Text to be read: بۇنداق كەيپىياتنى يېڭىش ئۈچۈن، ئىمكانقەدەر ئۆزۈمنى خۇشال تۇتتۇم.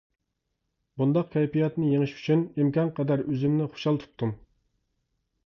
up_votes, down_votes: 2, 0